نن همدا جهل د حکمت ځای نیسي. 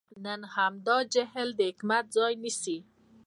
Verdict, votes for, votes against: rejected, 0, 2